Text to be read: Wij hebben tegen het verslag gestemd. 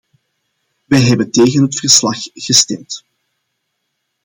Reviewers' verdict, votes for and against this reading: accepted, 2, 0